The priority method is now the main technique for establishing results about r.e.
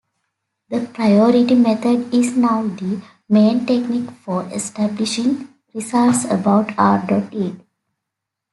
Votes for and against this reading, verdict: 2, 1, accepted